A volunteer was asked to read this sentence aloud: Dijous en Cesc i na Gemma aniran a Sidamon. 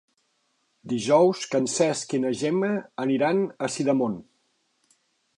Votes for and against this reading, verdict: 2, 0, accepted